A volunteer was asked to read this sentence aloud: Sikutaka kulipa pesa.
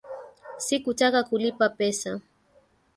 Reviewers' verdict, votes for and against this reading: accepted, 3, 0